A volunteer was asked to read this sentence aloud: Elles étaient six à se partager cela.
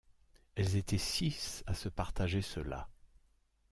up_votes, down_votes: 2, 0